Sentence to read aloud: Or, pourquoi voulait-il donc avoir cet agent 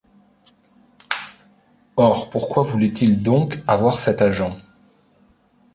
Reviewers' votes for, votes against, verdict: 2, 1, accepted